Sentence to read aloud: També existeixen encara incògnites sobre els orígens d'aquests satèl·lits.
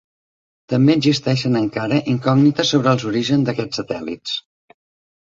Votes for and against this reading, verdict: 3, 0, accepted